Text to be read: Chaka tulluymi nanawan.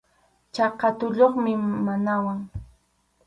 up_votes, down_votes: 2, 2